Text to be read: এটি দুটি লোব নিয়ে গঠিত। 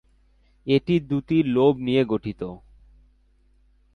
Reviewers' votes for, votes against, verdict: 3, 0, accepted